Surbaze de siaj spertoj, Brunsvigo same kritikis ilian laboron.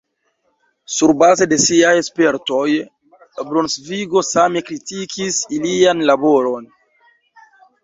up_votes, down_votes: 2, 0